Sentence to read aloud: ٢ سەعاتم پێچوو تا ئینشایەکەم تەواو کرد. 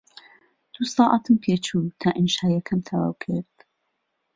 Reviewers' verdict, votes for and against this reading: rejected, 0, 2